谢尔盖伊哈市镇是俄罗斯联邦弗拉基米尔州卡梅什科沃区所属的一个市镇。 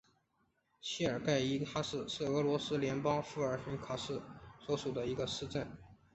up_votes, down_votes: 1, 2